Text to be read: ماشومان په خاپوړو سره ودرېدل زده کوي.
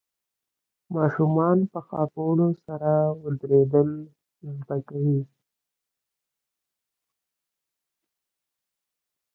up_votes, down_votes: 1, 2